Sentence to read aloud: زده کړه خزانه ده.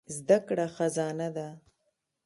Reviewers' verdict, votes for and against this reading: rejected, 1, 2